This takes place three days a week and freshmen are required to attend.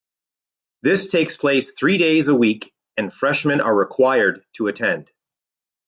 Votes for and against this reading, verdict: 2, 0, accepted